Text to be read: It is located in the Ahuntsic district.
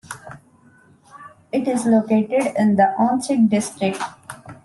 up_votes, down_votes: 2, 0